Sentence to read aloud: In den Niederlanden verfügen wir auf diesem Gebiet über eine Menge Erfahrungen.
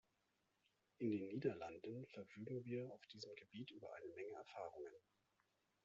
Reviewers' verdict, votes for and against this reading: accepted, 2, 0